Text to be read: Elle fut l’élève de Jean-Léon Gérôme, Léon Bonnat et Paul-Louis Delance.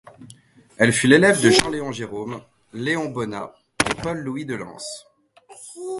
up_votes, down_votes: 0, 2